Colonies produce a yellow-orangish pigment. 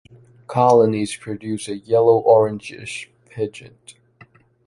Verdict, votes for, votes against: rejected, 0, 2